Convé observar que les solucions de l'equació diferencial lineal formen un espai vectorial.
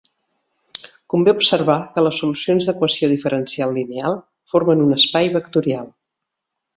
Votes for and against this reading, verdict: 2, 3, rejected